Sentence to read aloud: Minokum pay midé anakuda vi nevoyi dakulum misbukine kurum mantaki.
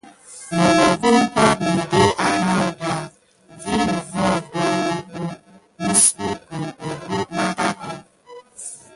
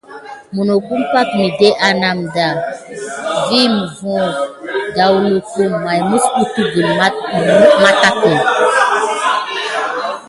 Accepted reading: second